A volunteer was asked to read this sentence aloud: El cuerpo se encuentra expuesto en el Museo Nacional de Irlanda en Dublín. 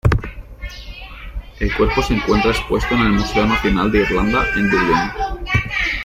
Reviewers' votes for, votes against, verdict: 1, 2, rejected